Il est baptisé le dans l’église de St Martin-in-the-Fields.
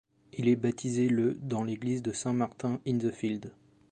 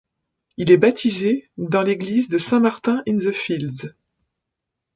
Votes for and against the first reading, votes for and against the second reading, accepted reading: 2, 0, 1, 2, first